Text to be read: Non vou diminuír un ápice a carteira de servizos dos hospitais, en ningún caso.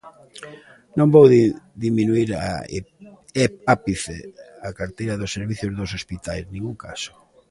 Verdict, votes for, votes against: rejected, 0, 2